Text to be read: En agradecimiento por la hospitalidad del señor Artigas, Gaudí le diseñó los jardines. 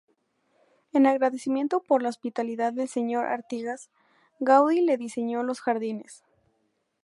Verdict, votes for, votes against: accepted, 2, 0